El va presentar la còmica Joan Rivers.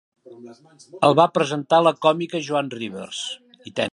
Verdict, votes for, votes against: rejected, 0, 2